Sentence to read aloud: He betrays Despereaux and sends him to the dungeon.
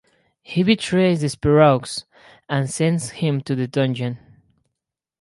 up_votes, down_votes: 4, 2